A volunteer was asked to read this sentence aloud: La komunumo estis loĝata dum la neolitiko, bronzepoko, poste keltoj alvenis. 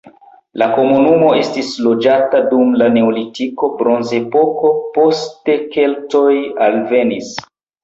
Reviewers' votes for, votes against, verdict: 1, 2, rejected